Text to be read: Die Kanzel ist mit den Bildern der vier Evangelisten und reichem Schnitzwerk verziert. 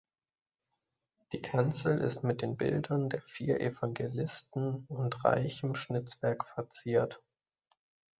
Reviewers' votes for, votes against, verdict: 2, 0, accepted